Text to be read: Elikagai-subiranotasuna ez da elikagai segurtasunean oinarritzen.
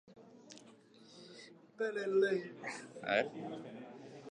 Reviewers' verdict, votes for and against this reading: rejected, 0, 2